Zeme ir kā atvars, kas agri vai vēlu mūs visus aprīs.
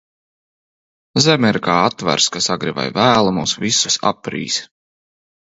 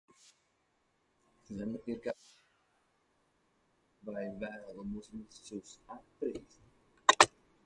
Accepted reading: first